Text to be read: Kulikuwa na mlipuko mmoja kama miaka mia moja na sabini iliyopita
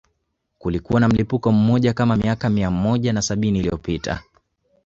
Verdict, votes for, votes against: rejected, 1, 2